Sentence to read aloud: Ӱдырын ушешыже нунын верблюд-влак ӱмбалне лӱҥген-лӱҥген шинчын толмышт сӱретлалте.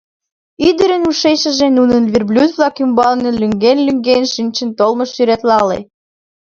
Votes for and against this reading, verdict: 2, 0, accepted